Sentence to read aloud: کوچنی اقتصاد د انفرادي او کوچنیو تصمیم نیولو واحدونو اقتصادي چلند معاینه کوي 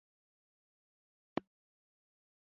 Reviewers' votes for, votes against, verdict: 0, 2, rejected